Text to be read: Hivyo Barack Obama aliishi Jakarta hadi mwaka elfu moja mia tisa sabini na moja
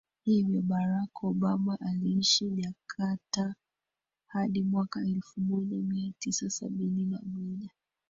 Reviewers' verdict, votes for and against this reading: rejected, 1, 2